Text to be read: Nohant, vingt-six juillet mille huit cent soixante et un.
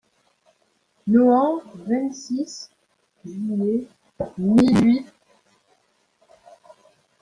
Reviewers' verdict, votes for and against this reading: rejected, 0, 2